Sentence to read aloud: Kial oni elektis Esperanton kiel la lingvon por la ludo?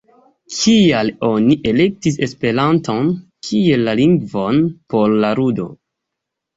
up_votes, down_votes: 2, 1